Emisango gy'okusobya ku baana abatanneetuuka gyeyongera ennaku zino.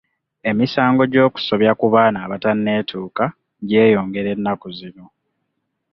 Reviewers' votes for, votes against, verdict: 2, 0, accepted